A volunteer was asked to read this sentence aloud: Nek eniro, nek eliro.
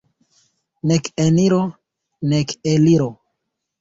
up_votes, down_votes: 2, 0